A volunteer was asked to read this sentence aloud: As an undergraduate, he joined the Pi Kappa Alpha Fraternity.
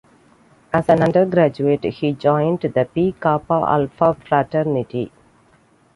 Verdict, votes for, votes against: accepted, 2, 0